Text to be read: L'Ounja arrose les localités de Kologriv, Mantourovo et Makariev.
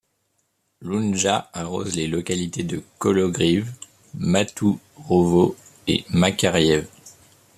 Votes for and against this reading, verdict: 1, 2, rejected